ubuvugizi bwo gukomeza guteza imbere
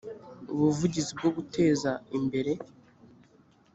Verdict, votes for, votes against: rejected, 0, 2